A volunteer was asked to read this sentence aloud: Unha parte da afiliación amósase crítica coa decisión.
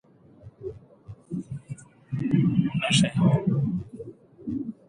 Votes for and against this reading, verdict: 0, 2, rejected